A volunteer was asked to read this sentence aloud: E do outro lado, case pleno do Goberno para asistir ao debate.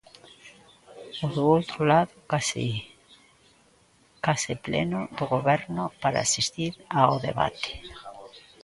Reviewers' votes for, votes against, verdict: 0, 2, rejected